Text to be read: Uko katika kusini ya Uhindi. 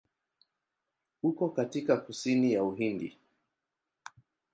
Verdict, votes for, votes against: accepted, 2, 0